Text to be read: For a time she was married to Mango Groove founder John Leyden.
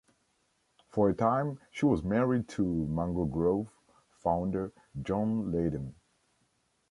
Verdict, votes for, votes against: accepted, 2, 0